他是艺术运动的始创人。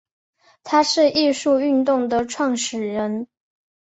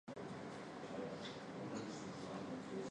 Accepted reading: first